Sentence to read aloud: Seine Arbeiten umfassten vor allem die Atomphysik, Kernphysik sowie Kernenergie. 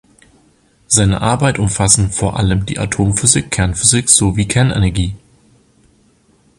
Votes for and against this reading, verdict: 1, 2, rejected